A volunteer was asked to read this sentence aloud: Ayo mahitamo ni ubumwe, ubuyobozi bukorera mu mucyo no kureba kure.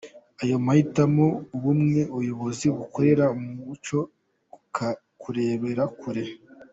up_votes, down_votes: 2, 1